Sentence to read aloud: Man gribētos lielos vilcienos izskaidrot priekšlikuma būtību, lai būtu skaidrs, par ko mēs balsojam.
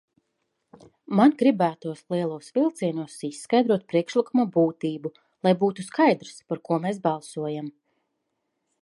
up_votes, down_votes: 2, 0